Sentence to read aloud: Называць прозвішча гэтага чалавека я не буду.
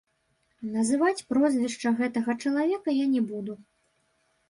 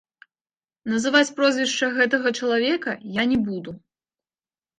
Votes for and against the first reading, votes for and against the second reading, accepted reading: 0, 2, 2, 1, second